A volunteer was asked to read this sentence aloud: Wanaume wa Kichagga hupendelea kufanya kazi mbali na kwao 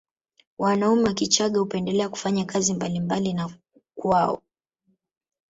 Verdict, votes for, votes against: accepted, 2, 0